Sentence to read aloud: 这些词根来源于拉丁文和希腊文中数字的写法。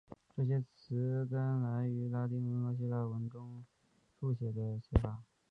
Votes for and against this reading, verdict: 0, 5, rejected